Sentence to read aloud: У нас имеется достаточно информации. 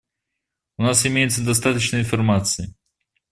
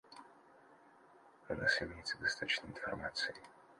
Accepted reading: first